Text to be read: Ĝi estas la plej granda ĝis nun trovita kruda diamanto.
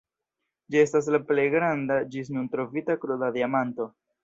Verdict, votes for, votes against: rejected, 1, 2